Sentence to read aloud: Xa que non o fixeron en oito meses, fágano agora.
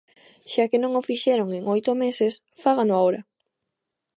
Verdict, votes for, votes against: rejected, 1, 2